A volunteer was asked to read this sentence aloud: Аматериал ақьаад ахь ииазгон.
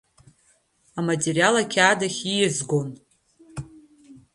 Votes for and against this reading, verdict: 2, 1, accepted